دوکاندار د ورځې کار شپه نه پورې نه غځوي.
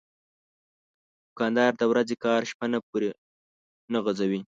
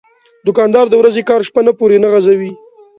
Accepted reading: second